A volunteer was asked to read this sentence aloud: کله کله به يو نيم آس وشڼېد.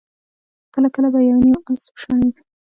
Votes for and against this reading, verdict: 2, 1, accepted